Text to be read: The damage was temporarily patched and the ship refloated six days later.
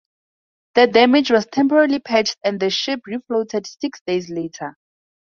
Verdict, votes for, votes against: accepted, 2, 0